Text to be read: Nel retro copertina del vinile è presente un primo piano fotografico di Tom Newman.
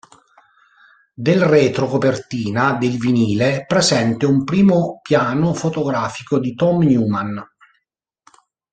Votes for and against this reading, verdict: 0, 2, rejected